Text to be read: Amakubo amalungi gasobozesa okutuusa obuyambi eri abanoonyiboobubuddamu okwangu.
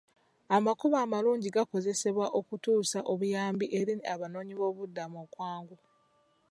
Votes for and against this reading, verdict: 2, 1, accepted